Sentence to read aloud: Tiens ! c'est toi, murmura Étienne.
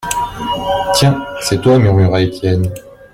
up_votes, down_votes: 1, 2